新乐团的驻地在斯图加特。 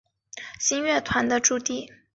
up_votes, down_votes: 1, 4